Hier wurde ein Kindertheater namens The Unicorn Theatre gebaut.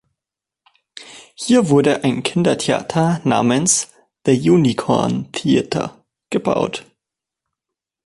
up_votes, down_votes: 3, 1